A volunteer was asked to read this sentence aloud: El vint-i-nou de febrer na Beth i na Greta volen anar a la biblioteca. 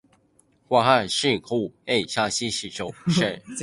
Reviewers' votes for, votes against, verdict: 0, 2, rejected